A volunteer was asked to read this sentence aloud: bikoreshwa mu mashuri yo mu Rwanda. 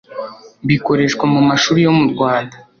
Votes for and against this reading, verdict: 2, 0, accepted